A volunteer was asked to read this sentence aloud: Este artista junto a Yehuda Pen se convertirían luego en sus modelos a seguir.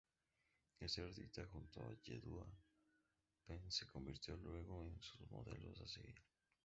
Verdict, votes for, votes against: rejected, 0, 2